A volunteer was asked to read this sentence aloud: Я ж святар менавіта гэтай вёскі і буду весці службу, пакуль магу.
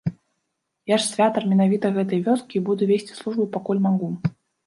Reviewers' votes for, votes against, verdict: 0, 2, rejected